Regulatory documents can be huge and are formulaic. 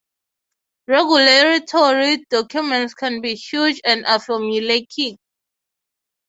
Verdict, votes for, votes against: rejected, 0, 3